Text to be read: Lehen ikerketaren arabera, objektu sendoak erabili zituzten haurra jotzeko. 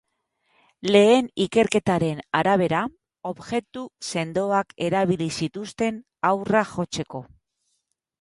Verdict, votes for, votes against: rejected, 2, 4